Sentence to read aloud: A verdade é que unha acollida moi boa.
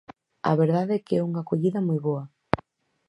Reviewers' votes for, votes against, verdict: 2, 2, rejected